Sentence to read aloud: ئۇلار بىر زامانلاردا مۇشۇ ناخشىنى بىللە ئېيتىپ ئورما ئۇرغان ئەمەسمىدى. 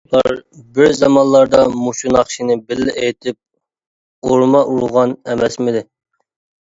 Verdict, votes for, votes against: rejected, 0, 2